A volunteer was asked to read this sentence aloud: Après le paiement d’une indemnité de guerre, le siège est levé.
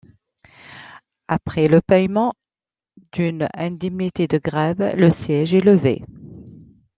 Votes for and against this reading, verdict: 1, 2, rejected